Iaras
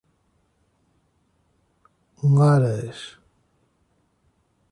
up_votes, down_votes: 0, 3